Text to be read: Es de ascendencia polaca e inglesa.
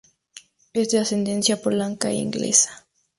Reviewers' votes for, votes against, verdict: 0, 2, rejected